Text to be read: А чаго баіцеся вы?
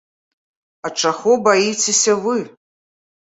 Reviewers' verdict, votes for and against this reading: accepted, 2, 0